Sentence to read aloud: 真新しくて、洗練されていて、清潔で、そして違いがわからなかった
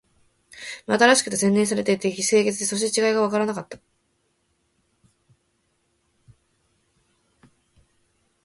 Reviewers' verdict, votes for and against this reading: rejected, 1, 4